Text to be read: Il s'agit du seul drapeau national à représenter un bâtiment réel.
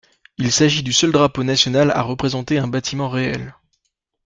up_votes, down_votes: 2, 0